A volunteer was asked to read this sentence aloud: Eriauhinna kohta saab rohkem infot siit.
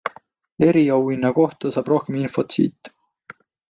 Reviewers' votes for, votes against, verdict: 2, 0, accepted